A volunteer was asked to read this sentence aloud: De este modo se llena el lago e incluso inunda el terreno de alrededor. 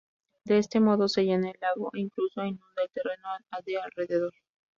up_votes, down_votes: 0, 2